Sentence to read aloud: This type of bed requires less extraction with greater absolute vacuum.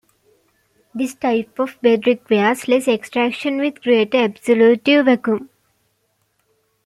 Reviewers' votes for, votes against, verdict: 0, 2, rejected